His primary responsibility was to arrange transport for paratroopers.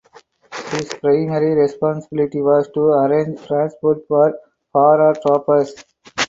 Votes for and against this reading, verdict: 2, 4, rejected